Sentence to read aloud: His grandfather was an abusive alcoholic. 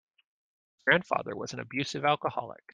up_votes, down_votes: 0, 2